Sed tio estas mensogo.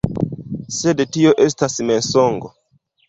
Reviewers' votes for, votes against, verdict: 1, 2, rejected